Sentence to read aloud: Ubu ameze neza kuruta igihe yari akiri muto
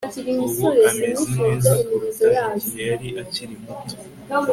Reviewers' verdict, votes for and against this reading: accepted, 3, 0